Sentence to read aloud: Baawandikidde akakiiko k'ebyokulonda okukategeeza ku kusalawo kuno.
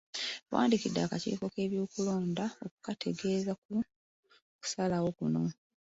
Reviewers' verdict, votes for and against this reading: rejected, 0, 2